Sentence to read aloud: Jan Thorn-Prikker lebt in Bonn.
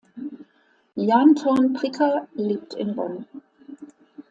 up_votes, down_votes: 2, 0